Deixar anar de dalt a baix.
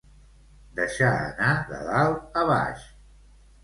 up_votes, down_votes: 2, 0